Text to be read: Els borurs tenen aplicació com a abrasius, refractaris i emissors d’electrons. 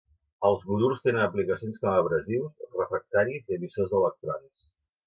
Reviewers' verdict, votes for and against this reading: rejected, 1, 2